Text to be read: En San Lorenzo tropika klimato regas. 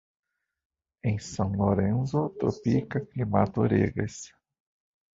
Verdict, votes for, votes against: rejected, 0, 2